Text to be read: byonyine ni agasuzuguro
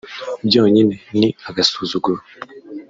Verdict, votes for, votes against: rejected, 1, 2